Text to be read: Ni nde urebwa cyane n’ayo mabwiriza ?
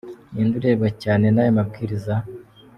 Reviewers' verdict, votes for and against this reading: rejected, 1, 2